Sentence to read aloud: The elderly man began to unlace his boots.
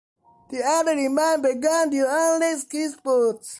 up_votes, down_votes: 0, 2